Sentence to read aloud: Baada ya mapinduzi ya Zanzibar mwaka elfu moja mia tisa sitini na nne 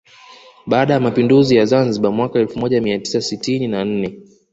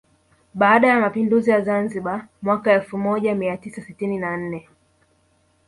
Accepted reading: first